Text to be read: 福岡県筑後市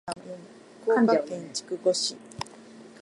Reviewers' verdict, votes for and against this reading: rejected, 1, 2